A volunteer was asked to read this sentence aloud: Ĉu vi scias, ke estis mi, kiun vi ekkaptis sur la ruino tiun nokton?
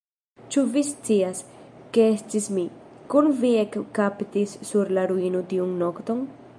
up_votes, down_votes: 1, 2